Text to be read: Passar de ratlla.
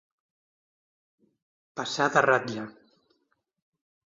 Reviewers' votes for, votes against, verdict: 2, 0, accepted